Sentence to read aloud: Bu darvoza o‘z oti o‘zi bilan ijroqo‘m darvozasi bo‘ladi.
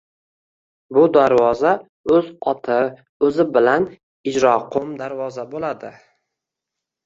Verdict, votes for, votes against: rejected, 0, 2